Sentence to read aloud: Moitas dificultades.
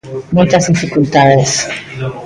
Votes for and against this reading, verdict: 0, 2, rejected